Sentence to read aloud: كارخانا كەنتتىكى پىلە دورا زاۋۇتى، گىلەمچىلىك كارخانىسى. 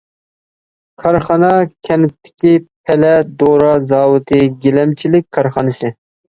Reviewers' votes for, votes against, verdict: 1, 2, rejected